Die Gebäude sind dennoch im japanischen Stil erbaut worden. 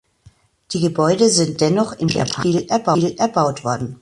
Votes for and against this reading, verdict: 0, 2, rejected